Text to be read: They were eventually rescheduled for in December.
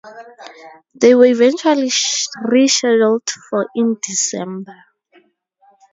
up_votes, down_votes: 0, 4